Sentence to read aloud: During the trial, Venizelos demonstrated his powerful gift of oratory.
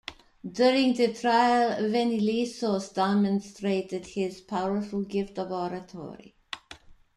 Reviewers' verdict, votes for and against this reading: rejected, 0, 2